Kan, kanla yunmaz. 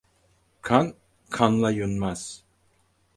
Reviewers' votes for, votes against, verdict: 6, 0, accepted